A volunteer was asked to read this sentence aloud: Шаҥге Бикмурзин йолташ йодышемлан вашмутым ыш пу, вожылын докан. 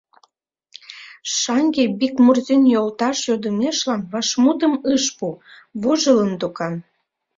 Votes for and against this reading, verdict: 0, 2, rejected